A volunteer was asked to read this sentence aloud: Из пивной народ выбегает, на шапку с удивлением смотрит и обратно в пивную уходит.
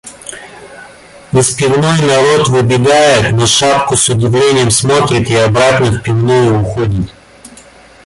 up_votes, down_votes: 1, 2